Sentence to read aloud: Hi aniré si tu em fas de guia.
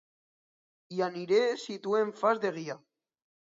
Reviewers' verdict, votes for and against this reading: accepted, 2, 0